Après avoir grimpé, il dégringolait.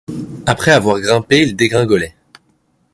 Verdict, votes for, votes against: accepted, 2, 0